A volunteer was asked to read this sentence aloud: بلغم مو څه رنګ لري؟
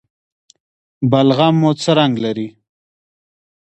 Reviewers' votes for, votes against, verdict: 0, 2, rejected